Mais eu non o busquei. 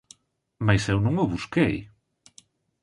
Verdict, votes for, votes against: accepted, 3, 0